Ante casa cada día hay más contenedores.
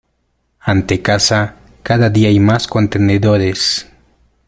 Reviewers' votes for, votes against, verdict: 2, 1, accepted